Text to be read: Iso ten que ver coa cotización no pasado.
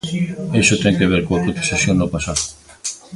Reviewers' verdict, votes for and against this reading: rejected, 1, 2